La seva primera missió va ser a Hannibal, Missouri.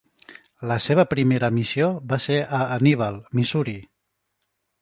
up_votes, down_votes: 2, 1